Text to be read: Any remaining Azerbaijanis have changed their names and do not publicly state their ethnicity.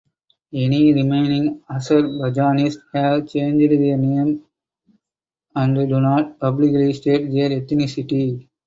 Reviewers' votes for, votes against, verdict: 0, 4, rejected